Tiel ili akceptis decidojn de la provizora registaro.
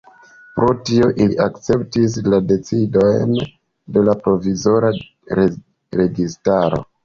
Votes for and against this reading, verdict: 0, 3, rejected